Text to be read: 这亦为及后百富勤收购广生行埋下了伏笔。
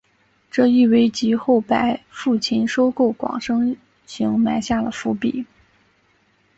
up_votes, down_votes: 2, 0